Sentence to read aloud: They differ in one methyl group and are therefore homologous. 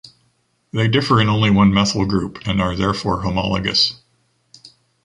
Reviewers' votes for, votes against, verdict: 1, 2, rejected